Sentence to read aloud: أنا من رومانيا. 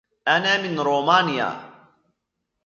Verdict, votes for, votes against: accepted, 2, 1